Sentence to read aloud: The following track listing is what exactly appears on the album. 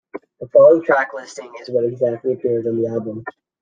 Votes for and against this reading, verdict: 2, 0, accepted